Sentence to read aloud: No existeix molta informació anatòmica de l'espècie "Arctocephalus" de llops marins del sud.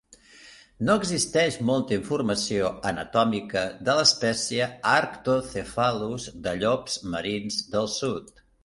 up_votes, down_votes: 4, 0